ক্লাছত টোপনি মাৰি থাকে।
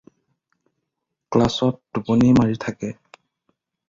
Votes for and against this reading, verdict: 4, 0, accepted